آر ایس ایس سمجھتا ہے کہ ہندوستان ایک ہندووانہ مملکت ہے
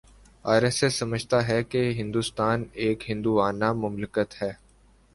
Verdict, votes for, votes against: accepted, 3, 1